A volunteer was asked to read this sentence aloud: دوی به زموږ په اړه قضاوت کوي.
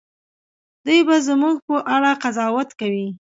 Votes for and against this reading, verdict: 2, 0, accepted